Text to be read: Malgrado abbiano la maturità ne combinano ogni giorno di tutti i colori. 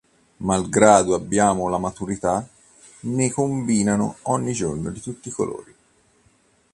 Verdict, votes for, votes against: rejected, 1, 2